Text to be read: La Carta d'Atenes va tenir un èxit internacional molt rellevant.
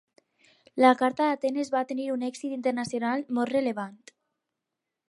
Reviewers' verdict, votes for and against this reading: rejected, 2, 2